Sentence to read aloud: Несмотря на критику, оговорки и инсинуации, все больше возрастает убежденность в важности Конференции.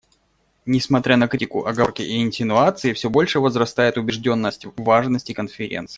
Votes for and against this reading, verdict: 1, 2, rejected